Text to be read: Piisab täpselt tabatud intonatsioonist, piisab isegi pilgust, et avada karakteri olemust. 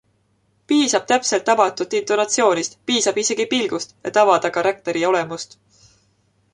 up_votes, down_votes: 2, 0